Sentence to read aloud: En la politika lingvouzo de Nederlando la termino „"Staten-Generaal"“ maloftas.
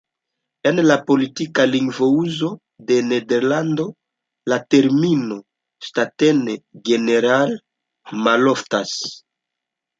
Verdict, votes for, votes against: accepted, 2, 0